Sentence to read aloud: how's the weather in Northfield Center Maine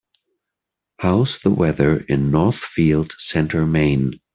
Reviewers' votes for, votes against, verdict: 2, 1, accepted